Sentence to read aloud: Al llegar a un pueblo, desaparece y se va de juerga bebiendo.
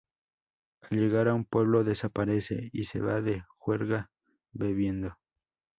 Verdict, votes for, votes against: accepted, 4, 0